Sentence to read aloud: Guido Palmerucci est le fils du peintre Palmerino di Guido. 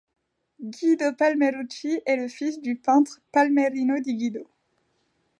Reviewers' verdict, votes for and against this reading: accepted, 2, 0